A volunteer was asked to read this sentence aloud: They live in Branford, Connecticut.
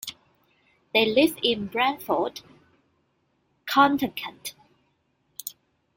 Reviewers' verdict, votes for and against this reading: rejected, 0, 2